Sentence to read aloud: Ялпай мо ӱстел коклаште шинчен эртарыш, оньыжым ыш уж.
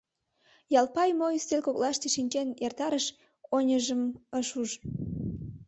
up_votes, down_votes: 1, 2